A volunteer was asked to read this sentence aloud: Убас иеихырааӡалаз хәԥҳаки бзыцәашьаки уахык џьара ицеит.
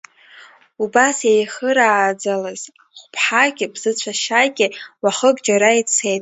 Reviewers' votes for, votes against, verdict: 1, 2, rejected